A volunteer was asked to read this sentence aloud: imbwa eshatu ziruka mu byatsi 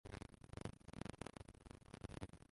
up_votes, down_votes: 0, 2